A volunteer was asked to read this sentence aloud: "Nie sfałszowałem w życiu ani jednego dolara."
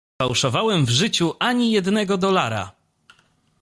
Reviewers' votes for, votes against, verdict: 0, 2, rejected